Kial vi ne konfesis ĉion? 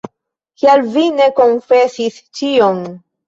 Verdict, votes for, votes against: accepted, 2, 0